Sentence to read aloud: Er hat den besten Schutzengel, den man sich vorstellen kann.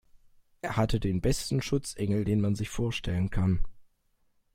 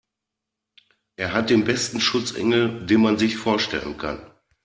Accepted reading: second